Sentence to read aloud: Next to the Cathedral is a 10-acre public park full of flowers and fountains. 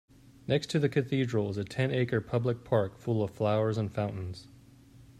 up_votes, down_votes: 0, 2